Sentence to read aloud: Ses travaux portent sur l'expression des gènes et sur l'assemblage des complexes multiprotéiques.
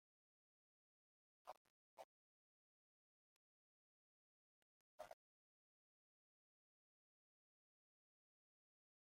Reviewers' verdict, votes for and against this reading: rejected, 0, 2